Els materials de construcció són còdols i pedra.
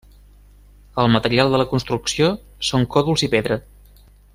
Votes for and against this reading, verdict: 0, 2, rejected